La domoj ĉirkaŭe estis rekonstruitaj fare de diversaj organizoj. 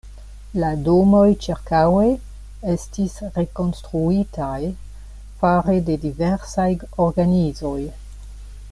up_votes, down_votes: 2, 1